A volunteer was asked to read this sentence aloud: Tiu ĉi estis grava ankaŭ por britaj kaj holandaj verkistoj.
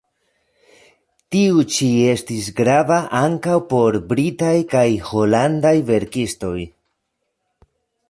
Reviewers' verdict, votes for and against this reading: accepted, 2, 0